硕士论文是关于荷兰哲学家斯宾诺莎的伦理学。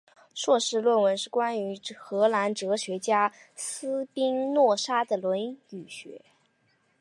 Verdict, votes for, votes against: accepted, 2, 0